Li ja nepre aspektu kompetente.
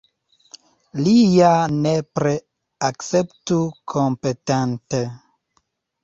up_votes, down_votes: 0, 2